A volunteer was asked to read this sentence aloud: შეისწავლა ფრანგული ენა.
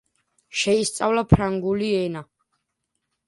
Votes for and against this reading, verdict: 1, 2, rejected